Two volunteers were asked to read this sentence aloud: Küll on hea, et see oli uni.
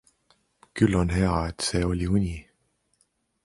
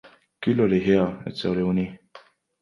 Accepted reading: first